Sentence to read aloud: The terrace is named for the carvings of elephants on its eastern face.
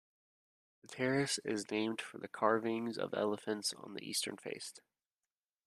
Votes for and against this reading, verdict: 0, 2, rejected